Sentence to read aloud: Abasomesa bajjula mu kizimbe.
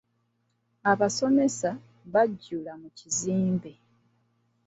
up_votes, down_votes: 2, 0